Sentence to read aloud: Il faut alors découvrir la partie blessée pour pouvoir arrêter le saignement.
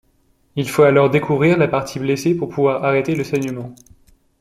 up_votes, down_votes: 2, 0